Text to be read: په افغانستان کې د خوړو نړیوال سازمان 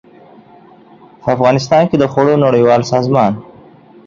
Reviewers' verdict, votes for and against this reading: accepted, 2, 0